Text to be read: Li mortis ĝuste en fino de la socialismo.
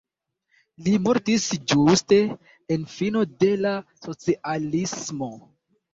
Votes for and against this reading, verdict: 0, 2, rejected